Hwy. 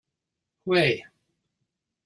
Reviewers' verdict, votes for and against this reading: rejected, 1, 2